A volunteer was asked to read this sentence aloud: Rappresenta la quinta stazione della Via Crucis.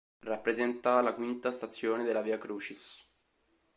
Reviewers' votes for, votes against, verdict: 2, 0, accepted